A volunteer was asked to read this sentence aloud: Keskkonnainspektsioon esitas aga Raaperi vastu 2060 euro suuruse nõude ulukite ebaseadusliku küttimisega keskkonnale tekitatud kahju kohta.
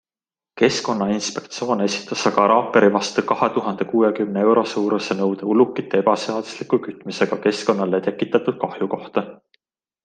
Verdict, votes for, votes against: rejected, 0, 2